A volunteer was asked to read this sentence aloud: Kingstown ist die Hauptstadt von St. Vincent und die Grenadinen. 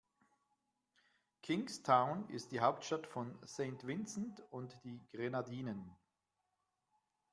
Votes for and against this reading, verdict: 2, 0, accepted